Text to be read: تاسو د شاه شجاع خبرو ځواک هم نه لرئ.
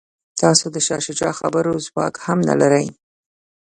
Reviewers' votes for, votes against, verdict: 2, 0, accepted